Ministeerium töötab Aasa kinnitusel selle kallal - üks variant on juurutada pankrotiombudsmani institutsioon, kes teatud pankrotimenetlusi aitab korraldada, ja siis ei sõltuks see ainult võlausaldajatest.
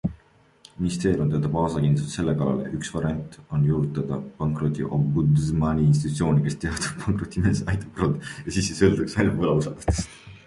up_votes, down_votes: 0, 2